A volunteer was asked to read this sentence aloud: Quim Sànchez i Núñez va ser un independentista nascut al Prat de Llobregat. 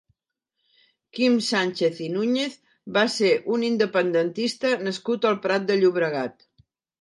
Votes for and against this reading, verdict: 3, 0, accepted